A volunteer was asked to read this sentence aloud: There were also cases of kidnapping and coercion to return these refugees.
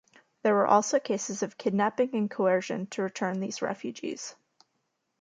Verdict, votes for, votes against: accepted, 2, 0